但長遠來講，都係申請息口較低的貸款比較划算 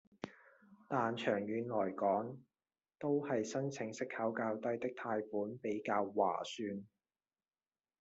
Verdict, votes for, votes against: rejected, 0, 2